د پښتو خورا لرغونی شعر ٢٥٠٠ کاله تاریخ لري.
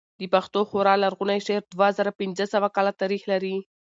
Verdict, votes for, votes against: rejected, 0, 2